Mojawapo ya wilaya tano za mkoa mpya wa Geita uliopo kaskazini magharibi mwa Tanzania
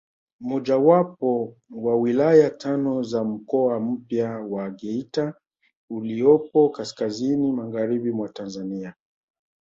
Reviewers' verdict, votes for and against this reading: rejected, 0, 2